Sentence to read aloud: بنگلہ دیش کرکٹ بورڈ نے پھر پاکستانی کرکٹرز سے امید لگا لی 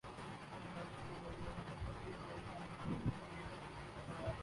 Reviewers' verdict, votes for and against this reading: rejected, 0, 3